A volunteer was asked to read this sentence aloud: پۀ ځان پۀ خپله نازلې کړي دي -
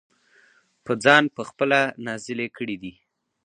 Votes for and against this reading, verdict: 4, 0, accepted